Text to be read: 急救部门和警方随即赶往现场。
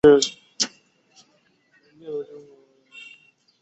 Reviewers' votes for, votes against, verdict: 1, 2, rejected